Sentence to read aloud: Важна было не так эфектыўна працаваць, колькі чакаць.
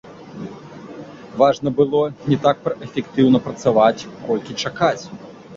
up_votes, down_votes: 0, 2